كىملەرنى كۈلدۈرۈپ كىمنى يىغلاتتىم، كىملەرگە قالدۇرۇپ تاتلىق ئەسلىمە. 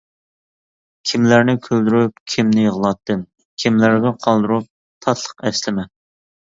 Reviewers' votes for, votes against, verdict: 2, 0, accepted